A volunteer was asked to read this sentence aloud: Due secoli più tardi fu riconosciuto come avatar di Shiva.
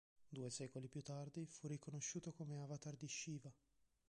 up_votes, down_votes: 0, 2